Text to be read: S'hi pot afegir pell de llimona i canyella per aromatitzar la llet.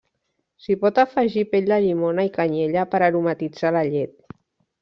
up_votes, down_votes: 0, 2